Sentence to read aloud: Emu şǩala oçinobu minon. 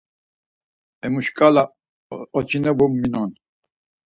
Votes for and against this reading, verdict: 4, 0, accepted